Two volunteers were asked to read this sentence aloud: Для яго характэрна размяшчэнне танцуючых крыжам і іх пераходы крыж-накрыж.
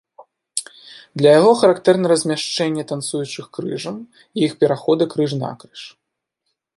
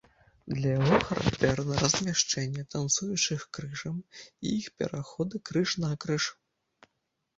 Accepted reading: first